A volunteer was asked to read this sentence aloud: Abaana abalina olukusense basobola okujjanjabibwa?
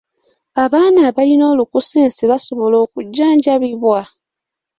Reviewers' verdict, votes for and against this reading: accepted, 2, 0